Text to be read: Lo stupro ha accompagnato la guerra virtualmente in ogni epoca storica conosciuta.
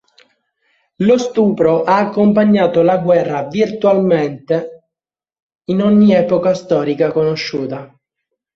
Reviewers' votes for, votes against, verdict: 2, 0, accepted